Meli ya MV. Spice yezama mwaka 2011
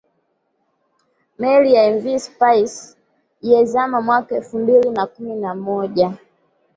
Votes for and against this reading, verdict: 0, 2, rejected